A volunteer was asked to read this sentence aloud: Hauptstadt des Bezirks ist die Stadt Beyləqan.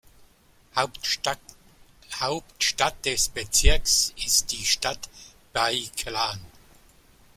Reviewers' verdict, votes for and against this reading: rejected, 0, 2